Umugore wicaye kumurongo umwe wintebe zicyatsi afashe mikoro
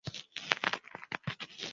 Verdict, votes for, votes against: rejected, 0, 2